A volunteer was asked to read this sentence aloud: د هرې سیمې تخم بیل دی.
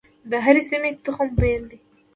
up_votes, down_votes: 2, 0